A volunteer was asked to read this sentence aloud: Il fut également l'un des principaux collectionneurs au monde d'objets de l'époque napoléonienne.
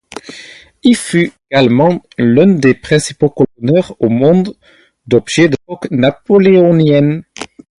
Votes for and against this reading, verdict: 2, 0, accepted